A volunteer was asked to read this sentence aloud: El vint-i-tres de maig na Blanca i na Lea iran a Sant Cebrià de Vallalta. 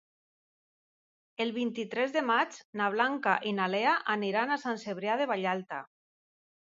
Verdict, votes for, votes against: rejected, 2, 3